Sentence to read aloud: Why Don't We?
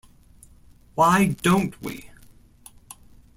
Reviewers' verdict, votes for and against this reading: accepted, 3, 0